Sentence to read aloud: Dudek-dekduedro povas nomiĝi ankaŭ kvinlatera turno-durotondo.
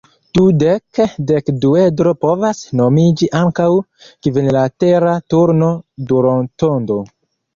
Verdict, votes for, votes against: rejected, 1, 2